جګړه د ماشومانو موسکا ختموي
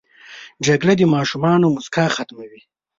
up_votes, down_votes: 2, 0